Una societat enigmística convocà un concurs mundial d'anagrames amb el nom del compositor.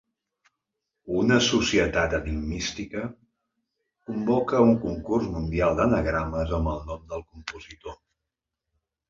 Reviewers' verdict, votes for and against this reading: rejected, 1, 2